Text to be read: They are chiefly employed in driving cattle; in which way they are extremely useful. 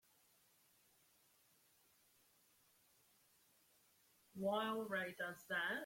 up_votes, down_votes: 0, 2